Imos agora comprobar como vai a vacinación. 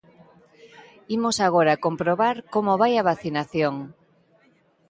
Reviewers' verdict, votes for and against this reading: accepted, 2, 0